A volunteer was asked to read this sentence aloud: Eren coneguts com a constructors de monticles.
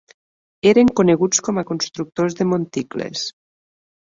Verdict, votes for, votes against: accepted, 4, 0